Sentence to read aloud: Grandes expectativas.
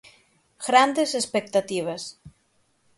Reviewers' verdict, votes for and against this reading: rejected, 3, 6